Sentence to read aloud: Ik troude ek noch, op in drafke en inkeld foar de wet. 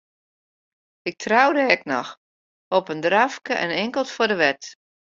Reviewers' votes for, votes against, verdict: 2, 1, accepted